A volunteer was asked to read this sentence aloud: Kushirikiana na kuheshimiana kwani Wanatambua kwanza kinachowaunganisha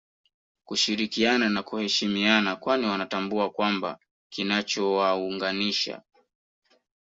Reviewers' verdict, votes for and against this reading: rejected, 0, 2